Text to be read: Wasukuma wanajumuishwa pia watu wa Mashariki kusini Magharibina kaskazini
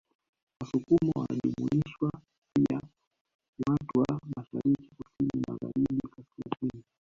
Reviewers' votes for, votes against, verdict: 0, 2, rejected